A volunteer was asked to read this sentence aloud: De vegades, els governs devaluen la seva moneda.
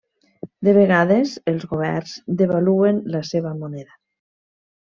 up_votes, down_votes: 3, 0